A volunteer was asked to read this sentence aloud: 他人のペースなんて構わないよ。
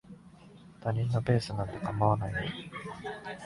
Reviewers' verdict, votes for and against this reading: accepted, 4, 0